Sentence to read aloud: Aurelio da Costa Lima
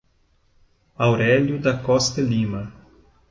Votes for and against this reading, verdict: 2, 0, accepted